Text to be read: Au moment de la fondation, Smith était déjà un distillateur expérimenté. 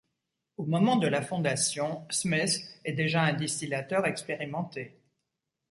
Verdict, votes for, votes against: rejected, 0, 2